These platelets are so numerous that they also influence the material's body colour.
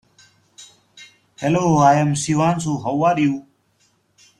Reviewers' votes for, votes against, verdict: 0, 2, rejected